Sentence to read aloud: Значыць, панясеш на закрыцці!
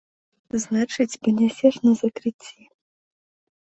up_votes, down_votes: 2, 0